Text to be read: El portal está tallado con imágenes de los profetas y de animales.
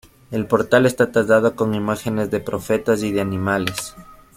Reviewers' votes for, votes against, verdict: 0, 2, rejected